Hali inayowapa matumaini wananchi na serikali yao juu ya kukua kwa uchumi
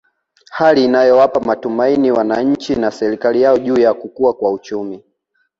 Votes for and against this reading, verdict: 0, 2, rejected